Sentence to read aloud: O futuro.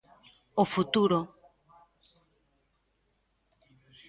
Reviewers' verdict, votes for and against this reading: rejected, 1, 2